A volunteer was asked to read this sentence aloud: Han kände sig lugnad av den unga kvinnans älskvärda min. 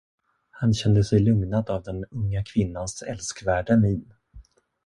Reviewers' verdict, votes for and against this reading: accepted, 2, 0